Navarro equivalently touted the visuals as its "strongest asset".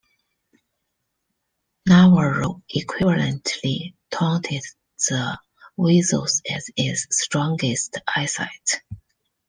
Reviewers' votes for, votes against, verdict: 1, 2, rejected